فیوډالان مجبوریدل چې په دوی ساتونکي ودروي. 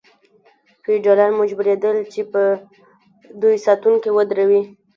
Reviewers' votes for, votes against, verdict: 2, 0, accepted